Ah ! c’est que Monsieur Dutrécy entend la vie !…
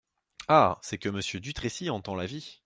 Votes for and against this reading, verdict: 2, 0, accepted